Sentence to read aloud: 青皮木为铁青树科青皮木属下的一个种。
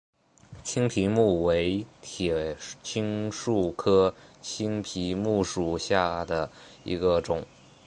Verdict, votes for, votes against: accepted, 3, 0